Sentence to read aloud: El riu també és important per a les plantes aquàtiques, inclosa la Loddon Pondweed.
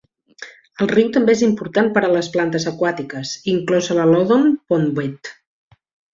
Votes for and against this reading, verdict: 2, 0, accepted